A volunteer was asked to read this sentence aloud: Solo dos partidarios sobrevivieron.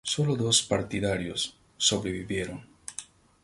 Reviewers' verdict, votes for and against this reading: accepted, 2, 0